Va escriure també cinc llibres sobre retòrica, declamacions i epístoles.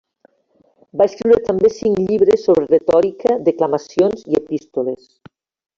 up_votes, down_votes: 0, 2